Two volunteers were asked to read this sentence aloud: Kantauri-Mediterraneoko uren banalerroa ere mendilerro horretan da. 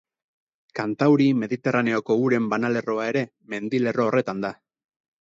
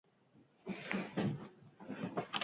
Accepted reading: first